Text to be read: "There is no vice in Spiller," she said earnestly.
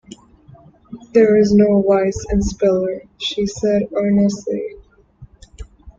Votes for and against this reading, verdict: 0, 3, rejected